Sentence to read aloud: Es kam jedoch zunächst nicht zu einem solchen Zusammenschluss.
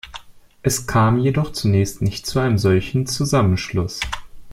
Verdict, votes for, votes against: accepted, 2, 0